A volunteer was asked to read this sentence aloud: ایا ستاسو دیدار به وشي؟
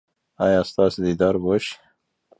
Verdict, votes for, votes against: rejected, 1, 2